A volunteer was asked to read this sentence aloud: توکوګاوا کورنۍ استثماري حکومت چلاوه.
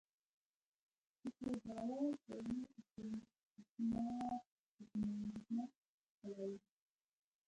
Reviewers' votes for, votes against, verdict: 0, 2, rejected